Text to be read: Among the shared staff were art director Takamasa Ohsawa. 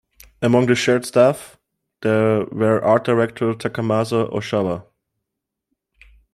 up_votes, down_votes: 0, 2